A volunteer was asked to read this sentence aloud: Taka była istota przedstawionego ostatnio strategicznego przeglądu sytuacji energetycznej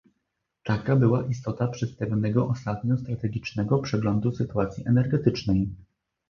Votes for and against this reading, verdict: 2, 0, accepted